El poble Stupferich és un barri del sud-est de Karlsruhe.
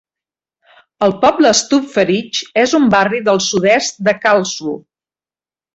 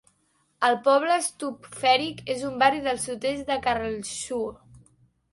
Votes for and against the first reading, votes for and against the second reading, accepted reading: 2, 0, 1, 2, first